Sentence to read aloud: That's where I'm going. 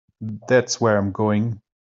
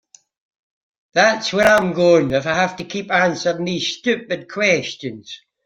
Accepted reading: first